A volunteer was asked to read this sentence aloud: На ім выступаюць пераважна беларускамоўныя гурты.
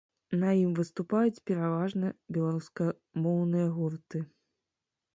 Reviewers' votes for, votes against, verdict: 2, 0, accepted